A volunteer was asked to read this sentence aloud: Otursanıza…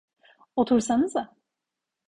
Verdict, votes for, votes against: accepted, 2, 0